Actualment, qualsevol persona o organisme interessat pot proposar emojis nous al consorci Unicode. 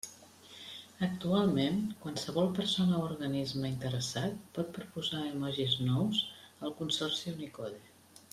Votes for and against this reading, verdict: 0, 2, rejected